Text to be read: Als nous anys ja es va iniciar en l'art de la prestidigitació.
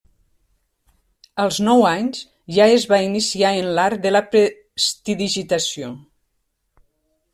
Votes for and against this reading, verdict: 0, 2, rejected